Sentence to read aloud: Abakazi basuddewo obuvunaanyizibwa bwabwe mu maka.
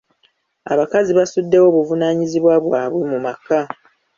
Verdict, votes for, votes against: accepted, 2, 0